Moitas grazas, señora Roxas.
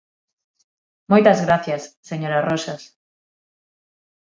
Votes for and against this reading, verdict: 3, 6, rejected